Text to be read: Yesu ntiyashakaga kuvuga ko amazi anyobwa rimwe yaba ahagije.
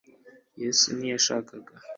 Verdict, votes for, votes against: rejected, 1, 2